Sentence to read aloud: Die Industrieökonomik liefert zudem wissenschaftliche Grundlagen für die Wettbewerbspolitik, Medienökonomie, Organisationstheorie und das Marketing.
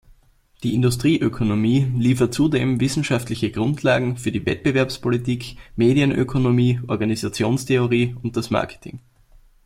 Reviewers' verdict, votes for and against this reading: rejected, 0, 2